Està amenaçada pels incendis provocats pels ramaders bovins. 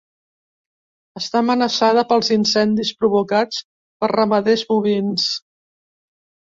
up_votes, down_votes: 1, 2